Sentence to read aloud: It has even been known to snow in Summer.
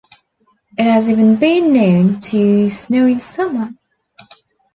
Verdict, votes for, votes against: accepted, 2, 0